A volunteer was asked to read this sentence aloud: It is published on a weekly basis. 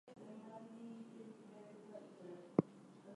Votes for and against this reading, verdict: 0, 2, rejected